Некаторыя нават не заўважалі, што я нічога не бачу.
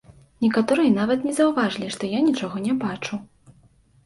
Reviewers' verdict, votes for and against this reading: rejected, 1, 2